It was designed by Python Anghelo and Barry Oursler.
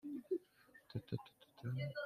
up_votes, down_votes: 0, 2